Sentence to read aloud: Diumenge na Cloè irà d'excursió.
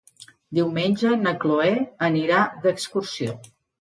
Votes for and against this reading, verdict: 1, 2, rejected